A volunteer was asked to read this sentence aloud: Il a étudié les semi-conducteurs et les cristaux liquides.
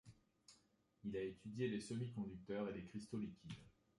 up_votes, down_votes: 2, 0